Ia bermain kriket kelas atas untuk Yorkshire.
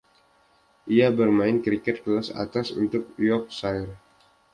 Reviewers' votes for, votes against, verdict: 1, 2, rejected